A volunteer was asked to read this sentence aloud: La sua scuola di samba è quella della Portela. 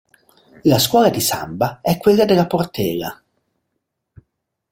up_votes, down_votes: 0, 2